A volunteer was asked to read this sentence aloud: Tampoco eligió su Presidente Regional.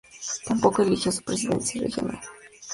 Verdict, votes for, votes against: rejected, 0, 2